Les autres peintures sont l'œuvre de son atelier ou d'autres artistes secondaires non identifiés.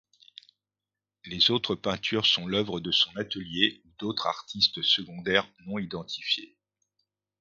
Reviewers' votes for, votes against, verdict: 0, 2, rejected